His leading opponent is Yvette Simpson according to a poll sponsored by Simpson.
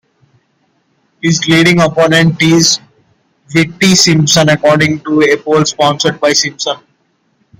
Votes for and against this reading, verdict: 2, 0, accepted